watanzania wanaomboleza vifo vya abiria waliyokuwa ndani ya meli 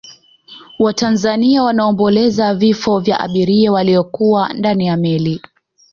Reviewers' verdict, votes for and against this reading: rejected, 0, 2